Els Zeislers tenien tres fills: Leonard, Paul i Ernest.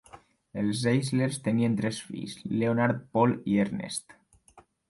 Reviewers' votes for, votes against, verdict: 2, 0, accepted